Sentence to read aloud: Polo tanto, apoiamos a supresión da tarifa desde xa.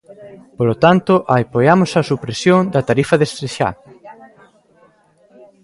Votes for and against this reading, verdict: 1, 2, rejected